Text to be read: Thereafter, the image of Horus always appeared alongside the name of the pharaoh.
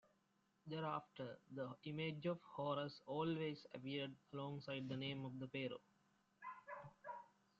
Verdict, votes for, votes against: rejected, 0, 2